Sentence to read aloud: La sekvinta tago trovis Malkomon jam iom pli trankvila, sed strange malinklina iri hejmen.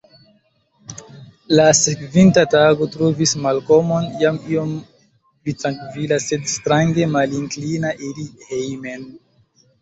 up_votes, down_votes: 1, 2